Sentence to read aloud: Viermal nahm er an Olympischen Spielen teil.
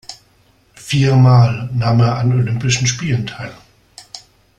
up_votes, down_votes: 2, 0